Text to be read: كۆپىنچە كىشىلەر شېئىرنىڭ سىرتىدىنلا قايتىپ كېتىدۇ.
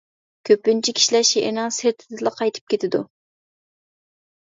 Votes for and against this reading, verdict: 0, 2, rejected